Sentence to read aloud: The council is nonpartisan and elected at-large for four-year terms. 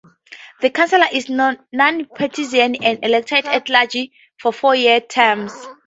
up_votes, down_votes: 2, 4